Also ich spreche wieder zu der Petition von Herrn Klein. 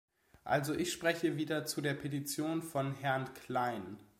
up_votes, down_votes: 2, 0